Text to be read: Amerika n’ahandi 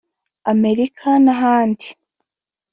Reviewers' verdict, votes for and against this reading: accepted, 2, 0